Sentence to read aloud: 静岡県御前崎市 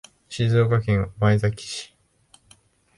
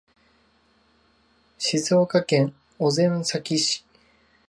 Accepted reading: first